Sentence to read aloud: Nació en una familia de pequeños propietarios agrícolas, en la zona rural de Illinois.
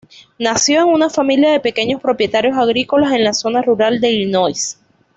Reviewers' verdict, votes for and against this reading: accepted, 2, 0